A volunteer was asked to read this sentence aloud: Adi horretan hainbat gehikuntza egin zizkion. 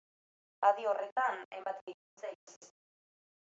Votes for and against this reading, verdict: 0, 2, rejected